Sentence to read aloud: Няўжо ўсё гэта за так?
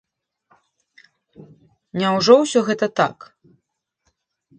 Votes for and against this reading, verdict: 1, 2, rejected